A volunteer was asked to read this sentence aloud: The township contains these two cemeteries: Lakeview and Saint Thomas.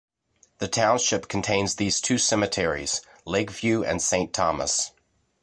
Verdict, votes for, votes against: accepted, 2, 0